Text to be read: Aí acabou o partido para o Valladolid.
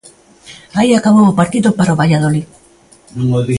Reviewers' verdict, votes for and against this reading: accepted, 2, 1